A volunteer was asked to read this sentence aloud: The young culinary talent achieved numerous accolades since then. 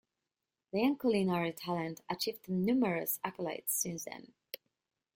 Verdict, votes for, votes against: rejected, 0, 2